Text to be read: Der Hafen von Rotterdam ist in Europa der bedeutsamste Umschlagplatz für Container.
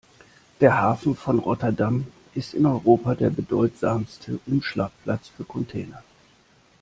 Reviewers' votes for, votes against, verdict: 2, 0, accepted